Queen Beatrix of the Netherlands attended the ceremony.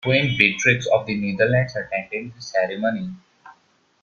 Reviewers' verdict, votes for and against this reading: accepted, 2, 1